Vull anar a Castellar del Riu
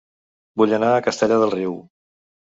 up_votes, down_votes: 2, 0